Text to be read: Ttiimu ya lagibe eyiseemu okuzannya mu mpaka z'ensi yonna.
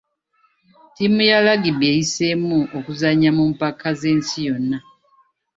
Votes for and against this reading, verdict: 2, 0, accepted